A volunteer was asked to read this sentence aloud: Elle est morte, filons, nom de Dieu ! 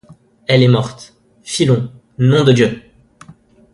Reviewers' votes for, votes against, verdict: 2, 0, accepted